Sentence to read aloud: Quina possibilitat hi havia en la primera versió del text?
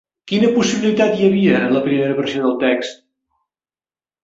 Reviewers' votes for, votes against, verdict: 1, 2, rejected